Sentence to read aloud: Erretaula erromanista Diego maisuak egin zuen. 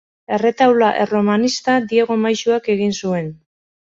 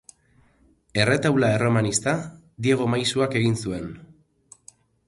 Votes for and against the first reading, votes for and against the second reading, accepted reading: 2, 2, 4, 0, second